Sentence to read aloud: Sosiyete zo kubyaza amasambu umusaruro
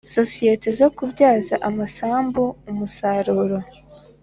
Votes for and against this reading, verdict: 2, 0, accepted